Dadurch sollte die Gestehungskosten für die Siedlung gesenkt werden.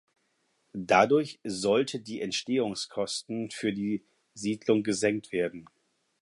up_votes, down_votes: 2, 4